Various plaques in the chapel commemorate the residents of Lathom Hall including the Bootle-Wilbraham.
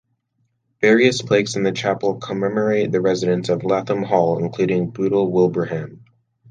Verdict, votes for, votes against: rejected, 0, 2